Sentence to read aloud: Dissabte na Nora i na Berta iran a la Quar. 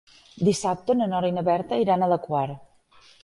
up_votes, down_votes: 3, 0